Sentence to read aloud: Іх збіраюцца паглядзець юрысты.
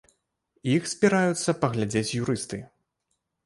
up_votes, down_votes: 2, 0